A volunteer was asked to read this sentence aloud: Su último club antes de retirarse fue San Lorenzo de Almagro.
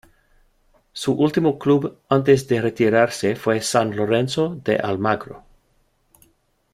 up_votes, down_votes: 2, 1